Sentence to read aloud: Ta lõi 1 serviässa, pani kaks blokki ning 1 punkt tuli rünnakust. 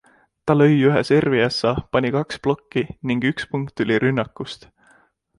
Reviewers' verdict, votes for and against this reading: rejected, 0, 2